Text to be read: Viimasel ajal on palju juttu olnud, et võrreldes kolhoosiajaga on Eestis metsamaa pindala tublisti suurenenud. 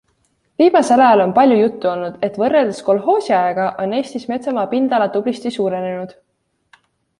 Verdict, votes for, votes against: accepted, 2, 0